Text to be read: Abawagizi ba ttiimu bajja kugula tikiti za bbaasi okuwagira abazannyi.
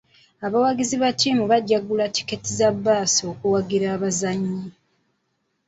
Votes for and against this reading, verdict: 2, 0, accepted